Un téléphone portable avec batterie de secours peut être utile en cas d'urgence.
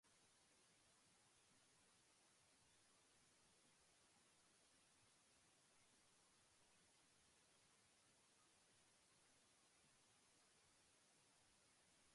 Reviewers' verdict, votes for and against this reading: rejected, 0, 2